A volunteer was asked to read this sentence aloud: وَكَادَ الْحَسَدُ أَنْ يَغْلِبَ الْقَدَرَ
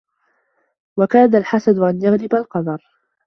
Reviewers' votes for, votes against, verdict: 2, 0, accepted